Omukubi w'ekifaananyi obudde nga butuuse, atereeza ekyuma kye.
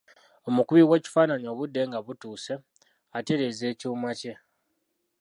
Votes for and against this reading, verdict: 0, 2, rejected